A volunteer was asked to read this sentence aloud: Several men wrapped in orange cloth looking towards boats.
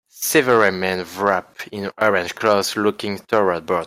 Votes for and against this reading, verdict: 2, 1, accepted